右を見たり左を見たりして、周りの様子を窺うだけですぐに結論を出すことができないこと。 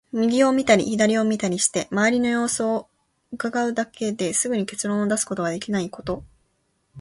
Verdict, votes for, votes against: accepted, 2, 0